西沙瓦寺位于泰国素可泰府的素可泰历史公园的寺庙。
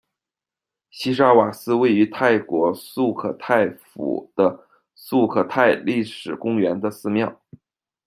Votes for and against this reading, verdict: 2, 0, accepted